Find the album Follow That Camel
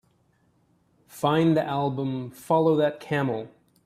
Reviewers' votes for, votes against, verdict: 2, 0, accepted